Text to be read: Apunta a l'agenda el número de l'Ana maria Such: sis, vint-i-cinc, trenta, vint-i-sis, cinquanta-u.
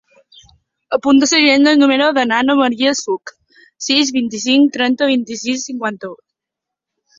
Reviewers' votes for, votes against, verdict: 0, 2, rejected